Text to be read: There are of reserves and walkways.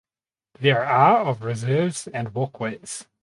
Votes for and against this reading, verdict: 2, 2, rejected